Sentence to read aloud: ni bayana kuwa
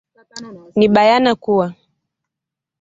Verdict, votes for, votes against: accepted, 2, 0